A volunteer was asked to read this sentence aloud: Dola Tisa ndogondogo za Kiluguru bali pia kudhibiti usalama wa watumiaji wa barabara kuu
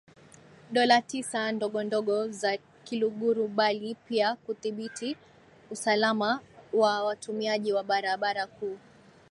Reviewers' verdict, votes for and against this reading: accepted, 2, 0